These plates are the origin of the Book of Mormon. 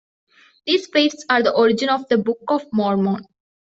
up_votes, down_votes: 2, 0